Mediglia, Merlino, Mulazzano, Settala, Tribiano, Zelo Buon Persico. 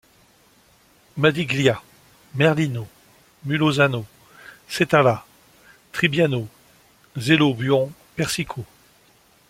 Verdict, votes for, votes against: rejected, 1, 2